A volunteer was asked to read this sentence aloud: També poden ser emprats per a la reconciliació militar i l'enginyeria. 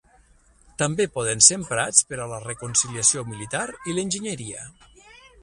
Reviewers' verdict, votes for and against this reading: accepted, 6, 3